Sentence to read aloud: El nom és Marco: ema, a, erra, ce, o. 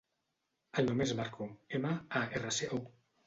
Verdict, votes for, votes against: rejected, 0, 2